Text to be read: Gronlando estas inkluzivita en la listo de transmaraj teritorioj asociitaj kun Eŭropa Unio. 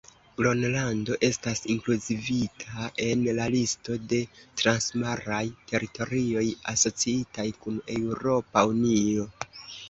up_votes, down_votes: 0, 2